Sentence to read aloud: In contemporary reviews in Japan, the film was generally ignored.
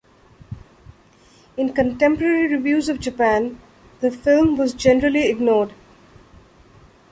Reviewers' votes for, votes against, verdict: 1, 2, rejected